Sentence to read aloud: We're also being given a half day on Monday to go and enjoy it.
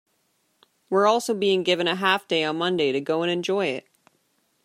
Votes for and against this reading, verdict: 2, 0, accepted